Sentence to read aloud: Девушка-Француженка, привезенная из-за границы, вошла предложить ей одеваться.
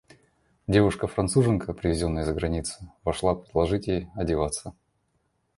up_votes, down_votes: 2, 0